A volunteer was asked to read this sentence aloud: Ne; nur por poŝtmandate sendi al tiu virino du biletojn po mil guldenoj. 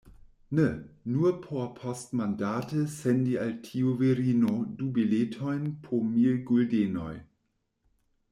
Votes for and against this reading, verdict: 2, 1, accepted